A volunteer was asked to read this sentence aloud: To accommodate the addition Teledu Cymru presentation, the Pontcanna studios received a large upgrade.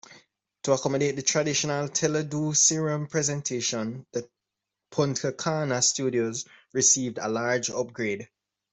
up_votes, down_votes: 0, 3